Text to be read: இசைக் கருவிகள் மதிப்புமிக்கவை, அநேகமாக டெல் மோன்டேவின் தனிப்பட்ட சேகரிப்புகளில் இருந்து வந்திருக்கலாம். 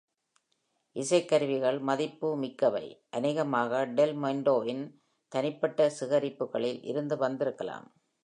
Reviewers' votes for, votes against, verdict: 2, 0, accepted